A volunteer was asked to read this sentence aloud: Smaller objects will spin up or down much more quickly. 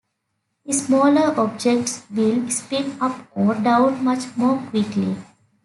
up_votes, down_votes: 2, 0